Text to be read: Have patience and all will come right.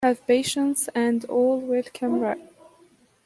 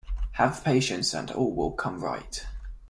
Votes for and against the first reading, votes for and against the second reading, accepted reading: 1, 2, 2, 0, second